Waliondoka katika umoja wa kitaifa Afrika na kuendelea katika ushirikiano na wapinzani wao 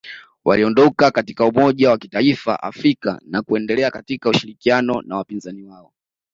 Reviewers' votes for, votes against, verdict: 2, 0, accepted